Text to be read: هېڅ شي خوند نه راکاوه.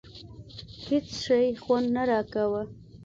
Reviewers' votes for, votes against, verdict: 2, 0, accepted